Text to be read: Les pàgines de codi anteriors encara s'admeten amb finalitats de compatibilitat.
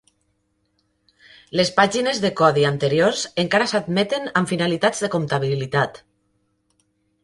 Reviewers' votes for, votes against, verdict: 1, 2, rejected